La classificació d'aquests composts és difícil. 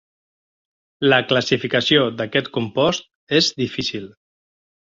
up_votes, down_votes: 1, 2